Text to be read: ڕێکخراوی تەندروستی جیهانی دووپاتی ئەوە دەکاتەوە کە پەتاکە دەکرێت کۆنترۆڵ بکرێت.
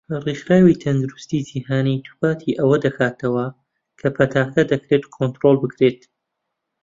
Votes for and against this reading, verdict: 2, 0, accepted